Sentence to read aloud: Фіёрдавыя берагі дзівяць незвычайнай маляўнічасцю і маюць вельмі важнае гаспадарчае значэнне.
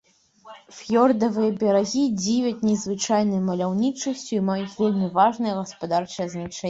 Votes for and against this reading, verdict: 1, 2, rejected